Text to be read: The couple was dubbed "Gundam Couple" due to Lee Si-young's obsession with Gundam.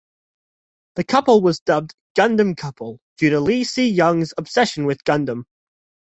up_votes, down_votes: 2, 0